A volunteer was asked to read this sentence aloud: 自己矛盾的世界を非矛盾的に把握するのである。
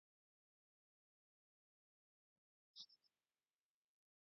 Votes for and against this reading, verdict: 0, 2, rejected